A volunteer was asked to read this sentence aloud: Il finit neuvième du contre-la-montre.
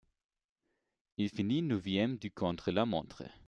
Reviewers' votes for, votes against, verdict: 1, 2, rejected